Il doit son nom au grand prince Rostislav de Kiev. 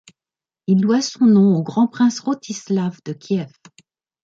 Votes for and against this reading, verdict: 2, 0, accepted